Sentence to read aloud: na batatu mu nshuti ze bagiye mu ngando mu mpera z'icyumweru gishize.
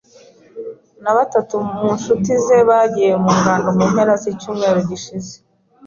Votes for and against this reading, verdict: 3, 0, accepted